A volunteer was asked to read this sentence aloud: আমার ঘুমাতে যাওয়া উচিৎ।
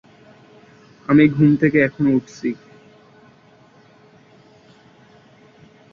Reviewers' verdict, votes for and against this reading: rejected, 0, 2